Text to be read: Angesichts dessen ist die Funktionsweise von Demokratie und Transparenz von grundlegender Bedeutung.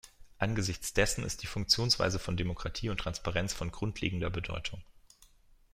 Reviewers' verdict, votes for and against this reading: accepted, 2, 0